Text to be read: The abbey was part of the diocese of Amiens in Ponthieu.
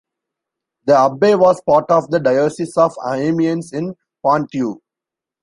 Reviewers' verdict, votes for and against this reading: rejected, 1, 2